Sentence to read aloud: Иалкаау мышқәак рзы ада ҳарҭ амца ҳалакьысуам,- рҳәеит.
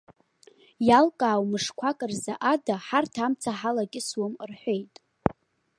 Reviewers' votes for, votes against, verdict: 2, 0, accepted